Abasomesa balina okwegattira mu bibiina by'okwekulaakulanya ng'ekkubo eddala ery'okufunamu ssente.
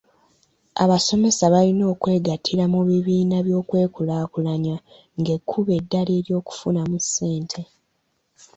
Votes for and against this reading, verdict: 0, 2, rejected